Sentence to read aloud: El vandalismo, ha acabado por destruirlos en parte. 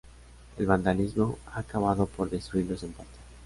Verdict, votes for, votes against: accepted, 2, 1